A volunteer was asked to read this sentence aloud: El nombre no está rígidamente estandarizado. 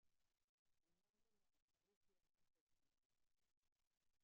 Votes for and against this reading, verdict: 0, 2, rejected